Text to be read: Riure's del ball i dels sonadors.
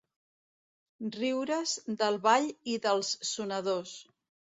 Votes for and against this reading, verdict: 2, 0, accepted